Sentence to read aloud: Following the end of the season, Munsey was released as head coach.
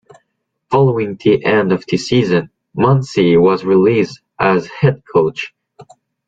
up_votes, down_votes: 2, 0